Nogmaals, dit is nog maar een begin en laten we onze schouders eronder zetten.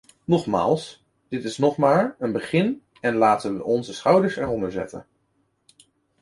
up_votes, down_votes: 2, 0